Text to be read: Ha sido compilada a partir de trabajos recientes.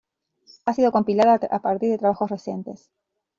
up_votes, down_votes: 0, 2